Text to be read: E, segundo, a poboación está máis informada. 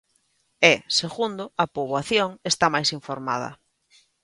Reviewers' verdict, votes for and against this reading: accepted, 2, 0